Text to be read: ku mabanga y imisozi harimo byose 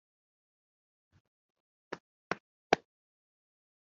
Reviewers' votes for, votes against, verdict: 0, 3, rejected